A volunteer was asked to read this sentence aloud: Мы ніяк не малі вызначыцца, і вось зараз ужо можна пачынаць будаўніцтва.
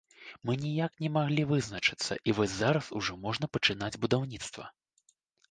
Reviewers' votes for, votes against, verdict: 4, 0, accepted